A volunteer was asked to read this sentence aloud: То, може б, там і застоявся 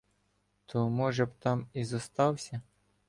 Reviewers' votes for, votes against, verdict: 1, 2, rejected